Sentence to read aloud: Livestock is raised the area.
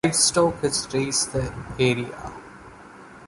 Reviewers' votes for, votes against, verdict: 1, 2, rejected